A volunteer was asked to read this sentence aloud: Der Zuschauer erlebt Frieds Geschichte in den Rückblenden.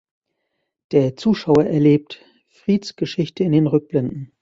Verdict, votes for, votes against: accepted, 2, 0